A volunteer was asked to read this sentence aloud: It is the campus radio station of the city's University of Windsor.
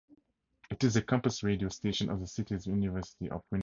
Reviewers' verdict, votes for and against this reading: rejected, 2, 2